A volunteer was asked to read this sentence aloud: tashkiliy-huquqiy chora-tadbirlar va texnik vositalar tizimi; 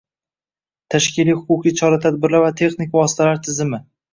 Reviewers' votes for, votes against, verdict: 2, 1, accepted